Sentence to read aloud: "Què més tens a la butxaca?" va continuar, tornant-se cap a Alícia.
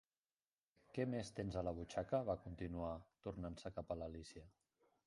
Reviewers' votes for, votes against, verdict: 0, 2, rejected